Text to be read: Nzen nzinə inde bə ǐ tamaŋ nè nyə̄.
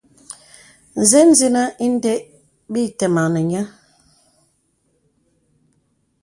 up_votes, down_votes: 2, 0